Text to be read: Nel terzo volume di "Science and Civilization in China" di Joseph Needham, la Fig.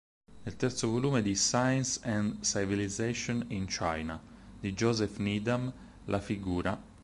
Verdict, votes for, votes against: accepted, 4, 0